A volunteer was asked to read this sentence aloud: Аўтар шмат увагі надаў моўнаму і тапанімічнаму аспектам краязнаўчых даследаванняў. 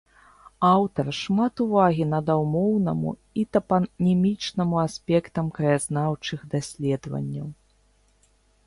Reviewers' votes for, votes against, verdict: 2, 1, accepted